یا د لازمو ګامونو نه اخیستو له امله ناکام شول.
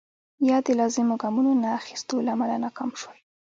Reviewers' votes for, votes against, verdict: 2, 0, accepted